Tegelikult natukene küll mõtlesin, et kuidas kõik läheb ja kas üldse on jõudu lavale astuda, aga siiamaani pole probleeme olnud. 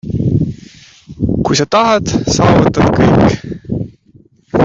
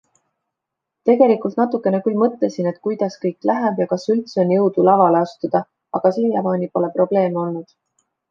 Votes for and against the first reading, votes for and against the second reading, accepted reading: 0, 2, 2, 0, second